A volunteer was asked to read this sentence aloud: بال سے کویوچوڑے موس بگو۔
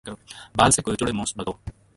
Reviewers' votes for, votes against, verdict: 1, 2, rejected